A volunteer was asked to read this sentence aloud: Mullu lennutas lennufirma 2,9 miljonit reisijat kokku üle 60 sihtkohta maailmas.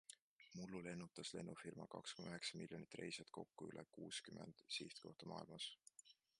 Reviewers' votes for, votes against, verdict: 0, 2, rejected